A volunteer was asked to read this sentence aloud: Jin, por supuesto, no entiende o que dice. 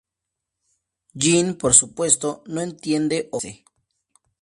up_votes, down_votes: 0, 2